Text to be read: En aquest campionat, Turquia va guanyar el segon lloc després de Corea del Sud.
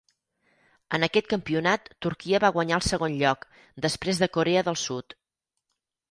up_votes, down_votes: 8, 0